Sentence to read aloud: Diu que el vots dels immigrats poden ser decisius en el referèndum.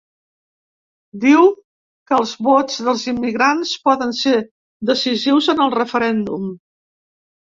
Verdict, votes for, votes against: rejected, 1, 2